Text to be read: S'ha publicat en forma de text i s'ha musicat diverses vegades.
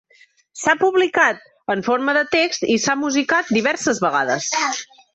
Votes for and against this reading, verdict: 3, 0, accepted